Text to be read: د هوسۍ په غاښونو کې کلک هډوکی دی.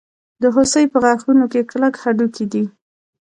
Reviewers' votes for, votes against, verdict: 2, 0, accepted